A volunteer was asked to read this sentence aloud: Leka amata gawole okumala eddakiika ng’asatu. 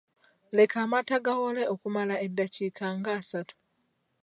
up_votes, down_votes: 2, 1